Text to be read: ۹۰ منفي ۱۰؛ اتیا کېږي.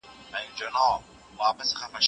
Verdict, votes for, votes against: rejected, 0, 2